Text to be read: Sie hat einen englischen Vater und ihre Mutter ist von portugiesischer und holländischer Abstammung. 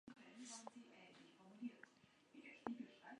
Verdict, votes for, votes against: rejected, 0, 2